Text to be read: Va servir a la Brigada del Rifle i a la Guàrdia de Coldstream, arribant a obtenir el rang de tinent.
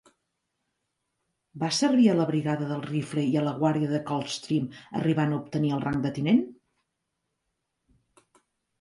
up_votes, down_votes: 2, 1